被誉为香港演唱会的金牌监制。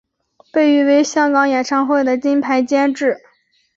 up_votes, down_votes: 2, 0